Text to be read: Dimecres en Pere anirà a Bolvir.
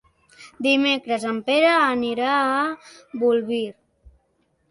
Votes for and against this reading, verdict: 3, 0, accepted